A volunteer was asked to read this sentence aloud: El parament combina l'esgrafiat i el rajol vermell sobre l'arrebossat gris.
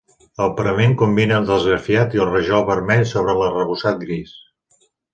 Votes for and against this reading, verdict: 2, 0, accepted